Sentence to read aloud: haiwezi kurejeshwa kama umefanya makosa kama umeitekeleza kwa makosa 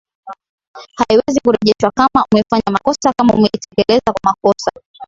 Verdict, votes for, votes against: rejected, 0, 2